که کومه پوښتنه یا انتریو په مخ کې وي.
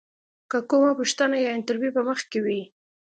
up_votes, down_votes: 2, 0